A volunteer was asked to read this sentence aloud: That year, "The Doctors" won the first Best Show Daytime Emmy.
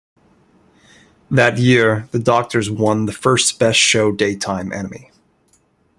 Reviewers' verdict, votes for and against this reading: accepted, 2, 0